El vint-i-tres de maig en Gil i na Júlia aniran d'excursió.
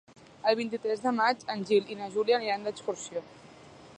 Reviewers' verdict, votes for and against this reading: accepted, 2, 0